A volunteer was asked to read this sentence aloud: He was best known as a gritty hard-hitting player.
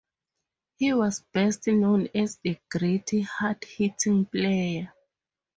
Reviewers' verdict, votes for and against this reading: accepted, 4, 0